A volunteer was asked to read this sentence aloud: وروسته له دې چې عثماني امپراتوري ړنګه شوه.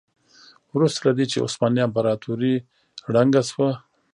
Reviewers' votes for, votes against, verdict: 1, 2, rejected